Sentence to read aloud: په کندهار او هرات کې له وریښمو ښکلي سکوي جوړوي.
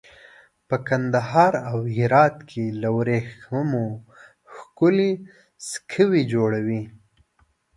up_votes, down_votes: 2, 0